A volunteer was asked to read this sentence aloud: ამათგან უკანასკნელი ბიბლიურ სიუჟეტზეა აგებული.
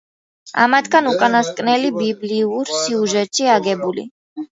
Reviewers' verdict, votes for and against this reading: rejected, 0, 2